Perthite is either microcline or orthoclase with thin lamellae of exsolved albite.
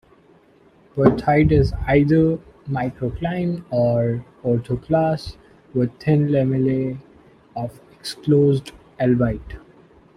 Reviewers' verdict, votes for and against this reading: rejected, 0, 2